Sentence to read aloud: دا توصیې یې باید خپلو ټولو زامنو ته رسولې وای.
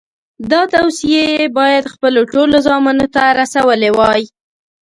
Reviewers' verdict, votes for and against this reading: accepted, 2, 0